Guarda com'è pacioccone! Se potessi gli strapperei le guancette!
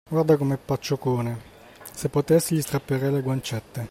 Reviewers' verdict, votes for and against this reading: accepted, 2, 0